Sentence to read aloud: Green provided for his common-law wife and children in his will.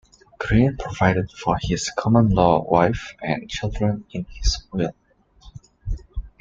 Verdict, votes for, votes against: accepted, 2, 0